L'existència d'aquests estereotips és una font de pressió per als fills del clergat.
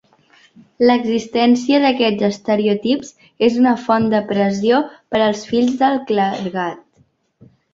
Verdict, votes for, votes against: rejected, 0, 2